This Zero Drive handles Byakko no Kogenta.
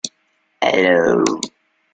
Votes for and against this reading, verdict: 0, 2, rejected